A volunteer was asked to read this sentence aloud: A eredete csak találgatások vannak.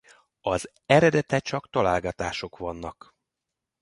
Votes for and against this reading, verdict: 0, 2, rejected